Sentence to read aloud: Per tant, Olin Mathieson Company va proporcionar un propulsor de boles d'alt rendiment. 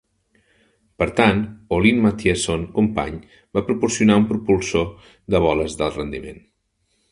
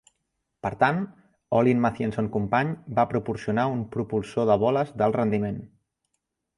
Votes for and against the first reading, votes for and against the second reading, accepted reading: 1, 2, 2, 0, second